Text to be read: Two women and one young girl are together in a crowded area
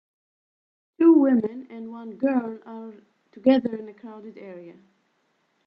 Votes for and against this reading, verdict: 2, 6, rejected